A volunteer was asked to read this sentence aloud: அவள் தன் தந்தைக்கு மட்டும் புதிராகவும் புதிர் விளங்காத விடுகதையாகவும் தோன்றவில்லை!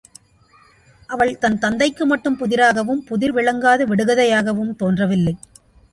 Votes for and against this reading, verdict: 2, 0, accepted